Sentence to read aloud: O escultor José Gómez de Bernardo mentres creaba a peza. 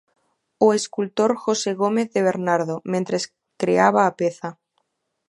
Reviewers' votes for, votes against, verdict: 2, 0, accepted